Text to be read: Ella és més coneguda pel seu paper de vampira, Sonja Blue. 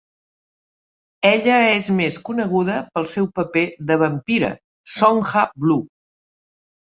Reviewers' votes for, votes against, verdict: 2, 0, accepted